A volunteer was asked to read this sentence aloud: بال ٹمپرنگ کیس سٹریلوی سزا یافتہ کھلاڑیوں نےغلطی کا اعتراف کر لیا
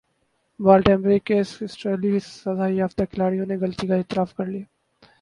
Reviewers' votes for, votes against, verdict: 2, 2, rejected